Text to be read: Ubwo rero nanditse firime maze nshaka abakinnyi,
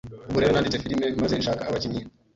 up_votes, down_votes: 1, 2